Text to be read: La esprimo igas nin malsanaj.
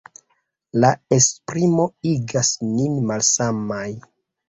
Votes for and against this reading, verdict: 2, 0, accepted